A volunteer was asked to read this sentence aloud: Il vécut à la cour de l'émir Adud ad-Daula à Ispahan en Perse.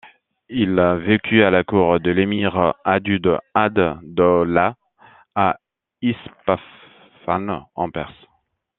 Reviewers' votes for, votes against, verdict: 2, 0, accepted